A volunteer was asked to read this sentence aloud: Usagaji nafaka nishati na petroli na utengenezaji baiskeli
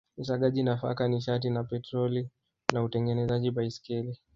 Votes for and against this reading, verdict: 1, 2, rejected